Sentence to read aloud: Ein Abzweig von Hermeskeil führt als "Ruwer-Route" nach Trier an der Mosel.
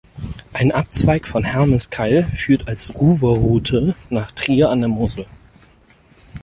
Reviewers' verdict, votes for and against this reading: rejected, 2, 4